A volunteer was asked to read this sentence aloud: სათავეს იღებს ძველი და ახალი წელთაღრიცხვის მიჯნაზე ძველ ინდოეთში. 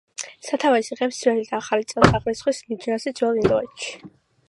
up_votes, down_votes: 2, 0